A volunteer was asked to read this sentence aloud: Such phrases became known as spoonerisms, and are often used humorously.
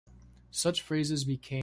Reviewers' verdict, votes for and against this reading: rejected, 0, 2